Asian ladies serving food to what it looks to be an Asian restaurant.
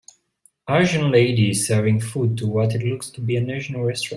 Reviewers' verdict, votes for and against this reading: rejected, 1, 2